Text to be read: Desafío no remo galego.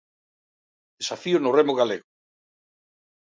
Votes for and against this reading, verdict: 1, 2, rejected